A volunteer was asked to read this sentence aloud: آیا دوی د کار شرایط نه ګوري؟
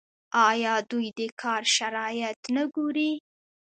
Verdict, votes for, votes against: rejected, 0, 2